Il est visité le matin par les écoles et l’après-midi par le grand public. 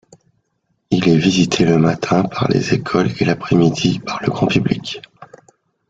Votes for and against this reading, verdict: 2, 0, accepted